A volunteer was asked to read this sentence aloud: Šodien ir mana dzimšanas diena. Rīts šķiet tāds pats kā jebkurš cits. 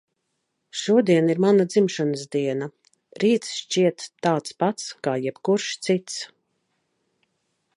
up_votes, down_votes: 2, 0